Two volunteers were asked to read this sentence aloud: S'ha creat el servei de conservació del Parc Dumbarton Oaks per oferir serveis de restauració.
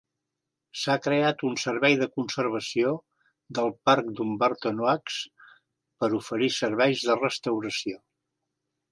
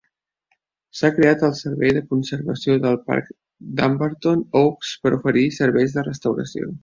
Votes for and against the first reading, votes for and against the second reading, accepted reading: 0, 2, 3, 0, second